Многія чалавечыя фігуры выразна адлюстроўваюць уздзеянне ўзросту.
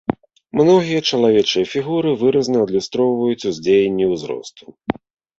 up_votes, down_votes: 0, 2